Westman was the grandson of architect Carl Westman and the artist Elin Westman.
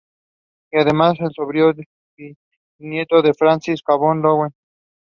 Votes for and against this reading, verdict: 0, 2, rejected